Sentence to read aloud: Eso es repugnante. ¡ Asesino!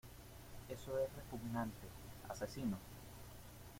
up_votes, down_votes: 0, 2